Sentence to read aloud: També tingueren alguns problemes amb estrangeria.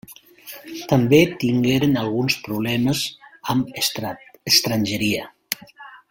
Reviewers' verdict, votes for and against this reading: rejected, 0, 2